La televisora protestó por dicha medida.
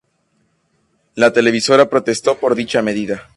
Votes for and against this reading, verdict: 2, 0, accepted